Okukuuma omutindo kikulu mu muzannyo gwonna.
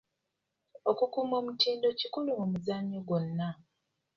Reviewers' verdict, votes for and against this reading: accepted, 2, 0